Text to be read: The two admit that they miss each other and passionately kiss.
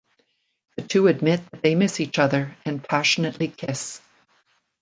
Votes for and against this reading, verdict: 2, 0, accepted